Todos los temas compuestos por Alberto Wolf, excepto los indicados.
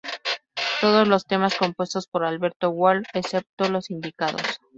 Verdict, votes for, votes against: rejected, 2, 2